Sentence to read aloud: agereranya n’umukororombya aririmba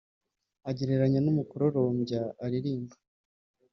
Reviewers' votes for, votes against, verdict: 4, 0, accepted